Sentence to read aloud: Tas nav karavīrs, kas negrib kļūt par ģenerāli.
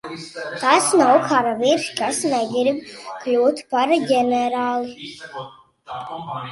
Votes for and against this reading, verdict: 0, 2, rejected